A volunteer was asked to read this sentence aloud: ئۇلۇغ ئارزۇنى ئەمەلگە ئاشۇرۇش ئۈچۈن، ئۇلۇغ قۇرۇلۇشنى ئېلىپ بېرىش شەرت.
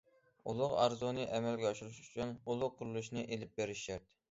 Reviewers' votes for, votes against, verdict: 2, 0, accepted